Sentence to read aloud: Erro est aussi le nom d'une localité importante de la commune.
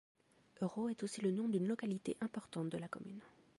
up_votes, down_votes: 2, 0